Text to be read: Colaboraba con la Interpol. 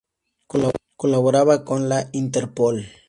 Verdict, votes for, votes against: rejected, 0, 2